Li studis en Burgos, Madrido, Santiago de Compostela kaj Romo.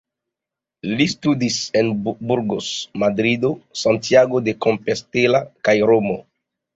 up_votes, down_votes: 0, 2